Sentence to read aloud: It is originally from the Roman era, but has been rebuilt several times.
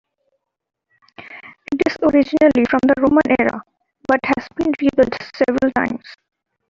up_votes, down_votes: 2, 0